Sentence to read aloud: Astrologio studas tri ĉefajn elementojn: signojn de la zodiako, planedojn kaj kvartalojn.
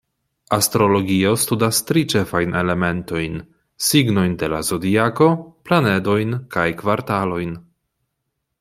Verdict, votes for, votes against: accepted, 2, 0